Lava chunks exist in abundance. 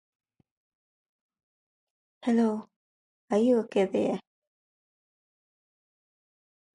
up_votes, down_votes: 0, 2